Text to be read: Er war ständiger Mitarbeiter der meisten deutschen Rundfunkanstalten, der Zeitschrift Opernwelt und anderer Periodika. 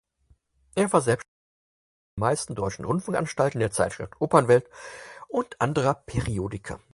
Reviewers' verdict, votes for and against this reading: rejected, 0, 4